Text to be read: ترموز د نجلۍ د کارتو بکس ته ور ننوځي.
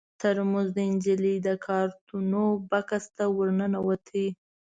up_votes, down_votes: 1, 2